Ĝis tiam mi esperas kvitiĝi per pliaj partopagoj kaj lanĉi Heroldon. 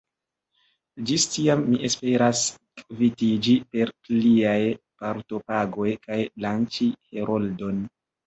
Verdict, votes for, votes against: accepted, 2, 0